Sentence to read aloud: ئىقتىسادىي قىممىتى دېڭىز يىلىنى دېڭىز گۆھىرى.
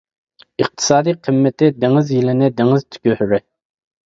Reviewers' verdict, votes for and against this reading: rejected, 0, 2